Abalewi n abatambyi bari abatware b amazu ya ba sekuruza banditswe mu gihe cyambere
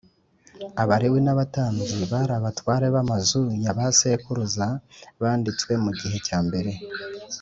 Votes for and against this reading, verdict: 2, 0, accepted